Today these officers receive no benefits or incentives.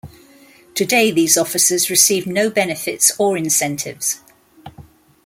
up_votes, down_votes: 0, 2